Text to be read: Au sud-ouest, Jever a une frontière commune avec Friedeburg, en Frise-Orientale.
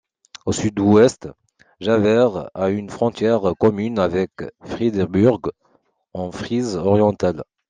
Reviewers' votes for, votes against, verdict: 2, 0, accepted